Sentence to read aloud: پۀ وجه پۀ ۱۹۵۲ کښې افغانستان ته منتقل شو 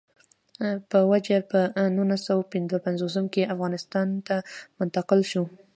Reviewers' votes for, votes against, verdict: 0, 2, rejected